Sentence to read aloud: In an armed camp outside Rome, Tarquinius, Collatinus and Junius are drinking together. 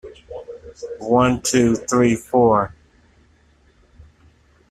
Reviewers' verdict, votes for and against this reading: rejected, 0, 3